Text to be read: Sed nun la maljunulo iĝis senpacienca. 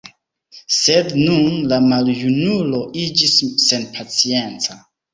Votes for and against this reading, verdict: 1, 2, rejected